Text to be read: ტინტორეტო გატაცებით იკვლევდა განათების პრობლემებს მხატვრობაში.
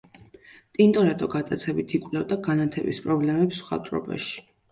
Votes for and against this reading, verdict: 2, 0, accepted